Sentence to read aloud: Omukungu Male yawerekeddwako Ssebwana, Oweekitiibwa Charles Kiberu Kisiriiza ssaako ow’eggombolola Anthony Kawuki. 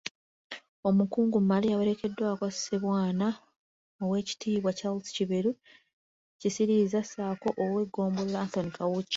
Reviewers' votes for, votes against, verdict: 2, 1, accepted